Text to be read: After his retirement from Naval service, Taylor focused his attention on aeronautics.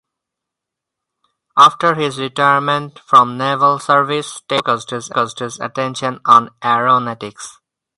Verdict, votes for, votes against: rejected, 0, 4